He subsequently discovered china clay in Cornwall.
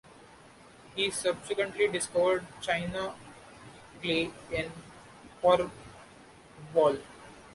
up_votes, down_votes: 1, 2